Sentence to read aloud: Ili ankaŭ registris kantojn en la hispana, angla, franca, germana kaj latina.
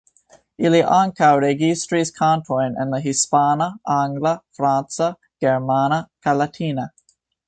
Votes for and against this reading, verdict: 1, 2, rejected